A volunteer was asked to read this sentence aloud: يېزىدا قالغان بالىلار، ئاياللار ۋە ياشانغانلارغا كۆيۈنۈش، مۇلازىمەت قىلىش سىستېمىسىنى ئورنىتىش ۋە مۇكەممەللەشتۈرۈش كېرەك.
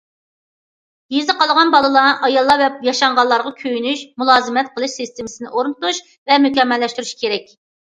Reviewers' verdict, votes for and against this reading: rejected, 0, 2